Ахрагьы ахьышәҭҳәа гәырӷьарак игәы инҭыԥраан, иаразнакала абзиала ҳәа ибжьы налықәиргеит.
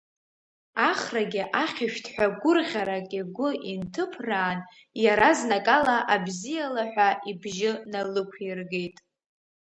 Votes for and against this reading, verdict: 2, 0, accepted